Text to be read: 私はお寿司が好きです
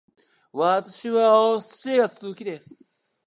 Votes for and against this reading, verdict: 1, 2, rejected